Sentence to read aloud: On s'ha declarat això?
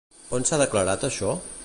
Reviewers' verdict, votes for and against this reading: accepted, 2, 0